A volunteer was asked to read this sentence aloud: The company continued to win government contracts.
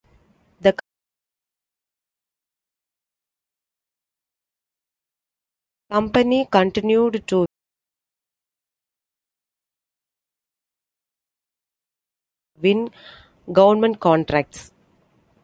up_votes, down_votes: 0, 2